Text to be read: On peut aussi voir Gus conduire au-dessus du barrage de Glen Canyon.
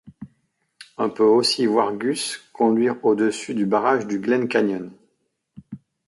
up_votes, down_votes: 1, 2